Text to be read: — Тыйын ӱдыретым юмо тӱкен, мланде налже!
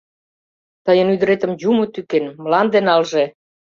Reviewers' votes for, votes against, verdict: 2, 0, accepted